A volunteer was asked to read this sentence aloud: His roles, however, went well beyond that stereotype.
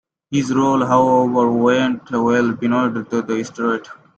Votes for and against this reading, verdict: 0, 2, rejected